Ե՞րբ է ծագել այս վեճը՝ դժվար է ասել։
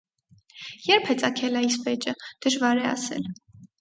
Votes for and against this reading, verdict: 4, 0, accepted